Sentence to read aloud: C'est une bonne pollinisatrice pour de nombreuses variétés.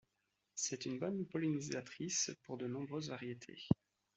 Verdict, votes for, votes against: accepted, 2, 0